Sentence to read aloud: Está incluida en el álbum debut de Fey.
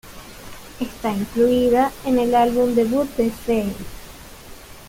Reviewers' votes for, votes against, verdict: 2, 0, accepted